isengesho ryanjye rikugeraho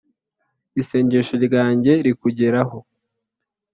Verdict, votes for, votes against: accepted, 2, 0